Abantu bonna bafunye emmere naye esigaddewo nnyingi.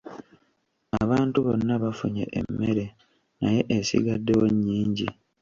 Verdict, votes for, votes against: rejected, 1, 2